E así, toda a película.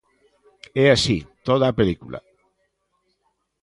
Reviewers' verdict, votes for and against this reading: accepted, 2, 0